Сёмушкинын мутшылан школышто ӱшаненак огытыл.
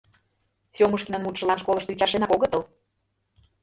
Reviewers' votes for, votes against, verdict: 0, 2, rejected